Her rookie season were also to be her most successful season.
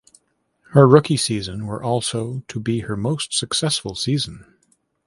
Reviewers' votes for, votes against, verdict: 2, 0, accepted